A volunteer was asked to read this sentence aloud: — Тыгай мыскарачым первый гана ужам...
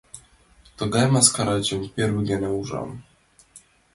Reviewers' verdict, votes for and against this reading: accepted, 2, 0